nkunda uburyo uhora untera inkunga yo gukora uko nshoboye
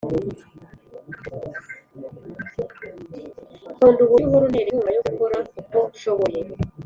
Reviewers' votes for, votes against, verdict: 0, 2, rejected